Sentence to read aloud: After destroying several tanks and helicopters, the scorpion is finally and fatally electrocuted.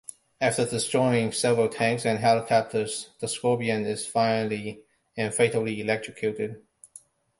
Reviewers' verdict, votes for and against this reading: accepted, 2, 0